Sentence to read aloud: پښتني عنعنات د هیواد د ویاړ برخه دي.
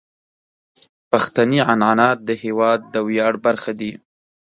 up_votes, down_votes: 3, 0